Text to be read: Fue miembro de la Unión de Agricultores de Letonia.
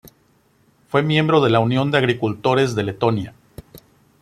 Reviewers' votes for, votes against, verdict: 2, 0, accepted